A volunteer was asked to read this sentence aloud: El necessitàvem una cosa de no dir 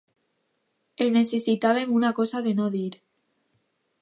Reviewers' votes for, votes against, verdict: 2, 1, accepted